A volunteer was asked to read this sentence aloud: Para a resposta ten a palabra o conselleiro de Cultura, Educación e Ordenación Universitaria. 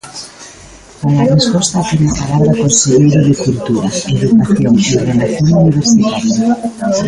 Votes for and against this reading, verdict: 1, 2, rejected